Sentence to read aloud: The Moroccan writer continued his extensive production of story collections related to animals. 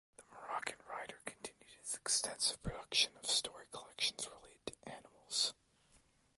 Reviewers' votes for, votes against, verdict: 2, 1, accepted